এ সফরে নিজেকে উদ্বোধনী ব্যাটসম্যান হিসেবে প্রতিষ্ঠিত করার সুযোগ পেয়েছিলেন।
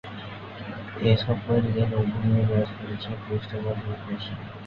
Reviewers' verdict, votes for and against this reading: rejected, 0, 2